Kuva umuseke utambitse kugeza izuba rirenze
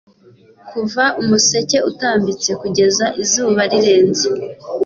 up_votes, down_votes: 2, 0